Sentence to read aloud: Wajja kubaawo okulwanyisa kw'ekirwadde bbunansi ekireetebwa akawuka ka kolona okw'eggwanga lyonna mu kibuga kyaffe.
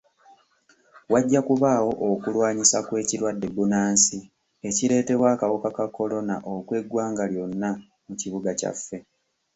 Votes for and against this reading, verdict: 1, 2, rejected